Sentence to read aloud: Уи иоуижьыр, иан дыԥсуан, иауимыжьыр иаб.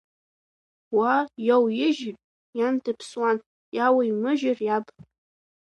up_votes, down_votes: 1, 2